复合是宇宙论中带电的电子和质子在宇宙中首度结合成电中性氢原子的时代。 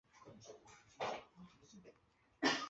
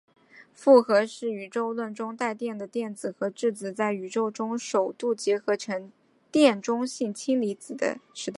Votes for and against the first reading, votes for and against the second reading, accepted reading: 1, 3, 2, 0, second